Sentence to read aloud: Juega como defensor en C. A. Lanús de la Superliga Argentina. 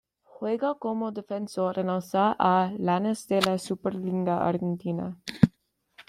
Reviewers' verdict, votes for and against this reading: rejected, 1, 3